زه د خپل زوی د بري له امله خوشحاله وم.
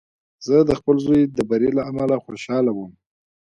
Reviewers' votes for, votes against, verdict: 1, 2, rejected